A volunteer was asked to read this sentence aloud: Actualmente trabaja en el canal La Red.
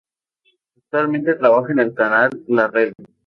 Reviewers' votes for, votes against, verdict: 0, 4, rejected